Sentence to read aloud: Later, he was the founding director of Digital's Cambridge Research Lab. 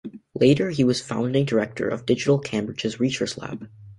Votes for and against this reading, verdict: 1, 2, rejected